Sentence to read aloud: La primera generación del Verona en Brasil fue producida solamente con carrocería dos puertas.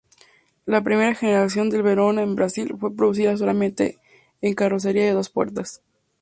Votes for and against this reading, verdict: 0, 2, rejected